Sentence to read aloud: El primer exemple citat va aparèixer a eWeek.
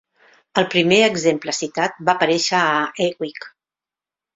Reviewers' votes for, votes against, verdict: 2, 1, accepted